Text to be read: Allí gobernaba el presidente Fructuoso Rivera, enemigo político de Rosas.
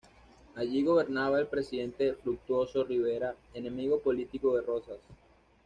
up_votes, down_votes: 2, 0